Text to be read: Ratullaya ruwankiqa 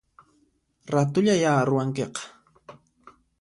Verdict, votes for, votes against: accepted, 2, 0